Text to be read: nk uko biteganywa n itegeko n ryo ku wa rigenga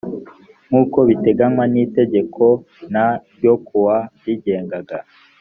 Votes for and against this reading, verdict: 0, 2, rejected